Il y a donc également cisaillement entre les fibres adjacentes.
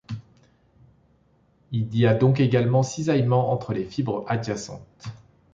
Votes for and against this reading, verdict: 2, 0, accepted